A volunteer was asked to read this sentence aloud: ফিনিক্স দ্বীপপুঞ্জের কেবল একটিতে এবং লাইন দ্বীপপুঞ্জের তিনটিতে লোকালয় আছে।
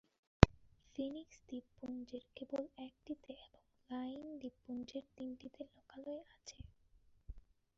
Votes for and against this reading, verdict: 1, 3, rejected